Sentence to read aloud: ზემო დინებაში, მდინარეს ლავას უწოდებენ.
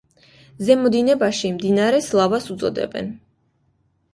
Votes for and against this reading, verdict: 2, 0, accepted